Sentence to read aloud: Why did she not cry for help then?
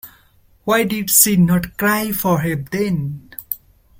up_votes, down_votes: 1, 2